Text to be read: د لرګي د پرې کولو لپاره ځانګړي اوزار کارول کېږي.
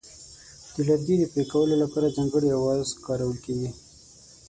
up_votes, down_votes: 3, 6